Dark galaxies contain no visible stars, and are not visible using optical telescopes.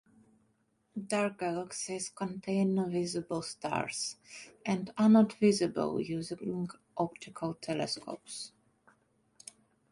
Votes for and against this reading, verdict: 1, 2, rejected